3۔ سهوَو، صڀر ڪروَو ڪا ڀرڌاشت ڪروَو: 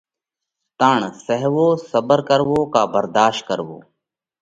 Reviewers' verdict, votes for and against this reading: rejected, 0, 2